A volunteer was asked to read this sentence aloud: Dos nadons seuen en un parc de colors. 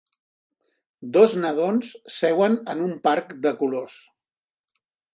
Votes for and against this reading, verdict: 3, 0, accepted